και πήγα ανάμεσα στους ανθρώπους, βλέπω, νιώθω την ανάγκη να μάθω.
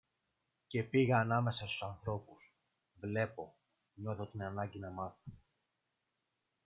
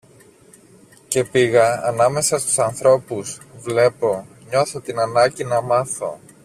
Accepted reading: second